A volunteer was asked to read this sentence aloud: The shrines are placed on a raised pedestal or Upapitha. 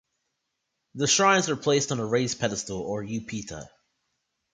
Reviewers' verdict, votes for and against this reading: rejected, 1, 2